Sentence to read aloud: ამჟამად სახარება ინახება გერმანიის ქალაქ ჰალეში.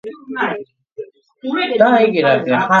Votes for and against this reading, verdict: 1, 2, rejected